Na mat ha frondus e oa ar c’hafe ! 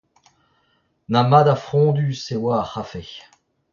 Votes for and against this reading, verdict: 2, 0, accepted